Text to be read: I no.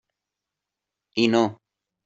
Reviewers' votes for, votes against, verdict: 3, 0, accepted